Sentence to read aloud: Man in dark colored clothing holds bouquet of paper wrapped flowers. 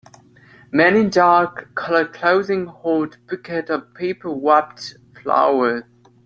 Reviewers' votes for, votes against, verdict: 0, 2, rejected